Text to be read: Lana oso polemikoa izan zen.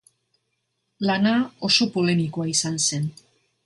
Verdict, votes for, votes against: accepted, 2, 0